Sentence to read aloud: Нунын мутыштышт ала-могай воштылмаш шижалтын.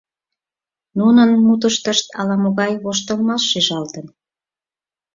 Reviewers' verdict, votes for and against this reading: accepted, 4, 0